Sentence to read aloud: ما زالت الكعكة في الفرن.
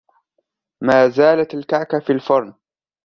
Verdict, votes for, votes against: accepted, 2, 0